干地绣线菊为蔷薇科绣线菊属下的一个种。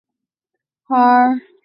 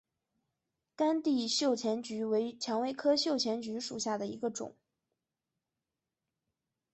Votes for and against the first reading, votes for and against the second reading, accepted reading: 0, 7, 2, 1, second